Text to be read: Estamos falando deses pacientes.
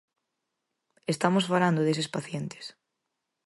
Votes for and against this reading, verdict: 4, 0, accepted